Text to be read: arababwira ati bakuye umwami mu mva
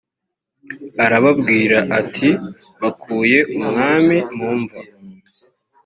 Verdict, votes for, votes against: accepted, 2, 0